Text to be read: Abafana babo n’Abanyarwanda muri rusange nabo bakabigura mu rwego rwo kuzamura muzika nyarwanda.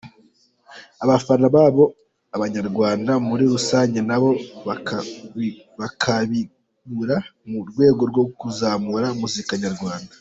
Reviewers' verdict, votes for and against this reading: rejected, 0, 2